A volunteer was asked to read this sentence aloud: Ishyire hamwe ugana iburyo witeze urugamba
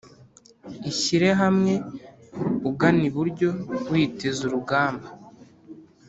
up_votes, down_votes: 2, 0